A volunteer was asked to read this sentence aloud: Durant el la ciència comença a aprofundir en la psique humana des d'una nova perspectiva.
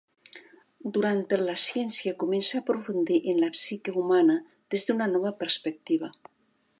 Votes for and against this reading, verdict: 2, 1, accepted